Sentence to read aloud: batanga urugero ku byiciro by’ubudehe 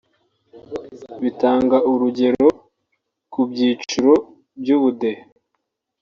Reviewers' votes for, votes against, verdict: 0, 2, rejected